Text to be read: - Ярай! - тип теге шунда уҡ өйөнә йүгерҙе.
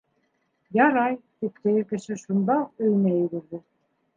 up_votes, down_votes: 0, 2